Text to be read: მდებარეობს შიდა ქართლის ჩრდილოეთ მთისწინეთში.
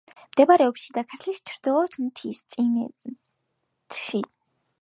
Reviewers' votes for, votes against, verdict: 2, 0, accepted